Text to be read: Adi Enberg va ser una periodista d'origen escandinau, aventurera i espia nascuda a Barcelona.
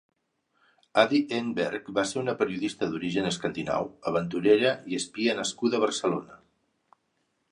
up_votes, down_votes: 4, 0